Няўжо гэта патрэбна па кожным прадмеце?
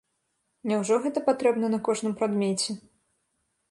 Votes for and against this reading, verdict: 2, 0, accepted